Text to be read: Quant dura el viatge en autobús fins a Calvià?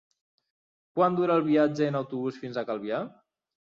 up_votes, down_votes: 3, 0